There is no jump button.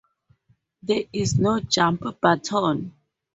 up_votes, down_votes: 2, 0